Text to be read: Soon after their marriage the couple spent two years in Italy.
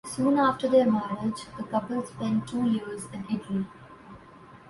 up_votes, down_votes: 2, 0